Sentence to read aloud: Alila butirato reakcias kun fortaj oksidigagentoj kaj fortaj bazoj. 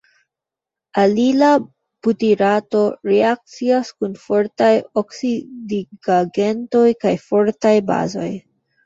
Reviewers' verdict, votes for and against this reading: rejected, 0, 2